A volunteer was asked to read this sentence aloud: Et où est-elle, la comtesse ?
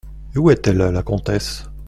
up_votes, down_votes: 2, 0